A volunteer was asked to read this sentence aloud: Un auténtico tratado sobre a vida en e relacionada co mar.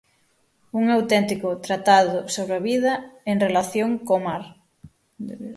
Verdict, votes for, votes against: rejected, 0, 6